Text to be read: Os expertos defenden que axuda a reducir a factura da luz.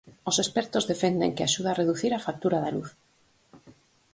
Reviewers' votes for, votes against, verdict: 4, 0, accepted